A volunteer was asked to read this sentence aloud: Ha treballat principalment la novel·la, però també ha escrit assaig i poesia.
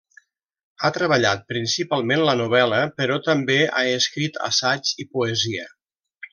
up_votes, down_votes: 2, 0